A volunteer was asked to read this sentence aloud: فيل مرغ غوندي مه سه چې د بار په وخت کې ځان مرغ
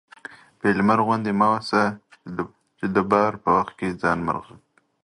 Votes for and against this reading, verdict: 2, 1, accepted